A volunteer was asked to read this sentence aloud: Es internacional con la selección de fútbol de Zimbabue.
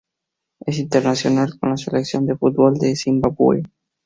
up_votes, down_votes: 2, 0